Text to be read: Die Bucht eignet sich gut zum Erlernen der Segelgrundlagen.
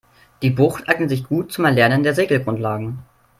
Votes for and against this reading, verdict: 3, 0, accepted